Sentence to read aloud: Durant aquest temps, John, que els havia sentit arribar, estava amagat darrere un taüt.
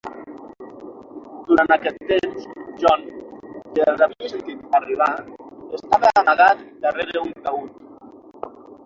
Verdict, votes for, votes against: rejected, 3, 6